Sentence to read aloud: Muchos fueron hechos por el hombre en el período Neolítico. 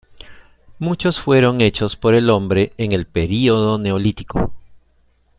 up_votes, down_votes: 3, 0